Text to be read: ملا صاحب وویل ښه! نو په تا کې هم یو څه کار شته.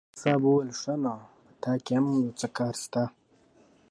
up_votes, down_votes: 2, 0